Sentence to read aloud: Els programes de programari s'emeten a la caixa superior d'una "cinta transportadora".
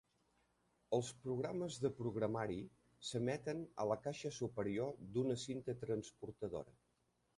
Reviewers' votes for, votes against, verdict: 1, 2, rejected